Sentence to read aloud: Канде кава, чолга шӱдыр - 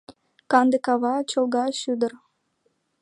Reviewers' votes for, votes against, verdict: 2, 0, accepted